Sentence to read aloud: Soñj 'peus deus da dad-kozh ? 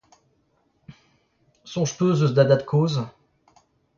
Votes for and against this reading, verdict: 0, 2, rejected